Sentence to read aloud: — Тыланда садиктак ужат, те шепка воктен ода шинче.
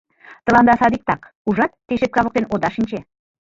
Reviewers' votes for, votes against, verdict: 0, 2, rejected